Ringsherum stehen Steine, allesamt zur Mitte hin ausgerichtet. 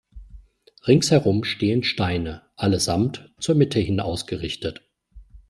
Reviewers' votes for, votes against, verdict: 2, 0, accepted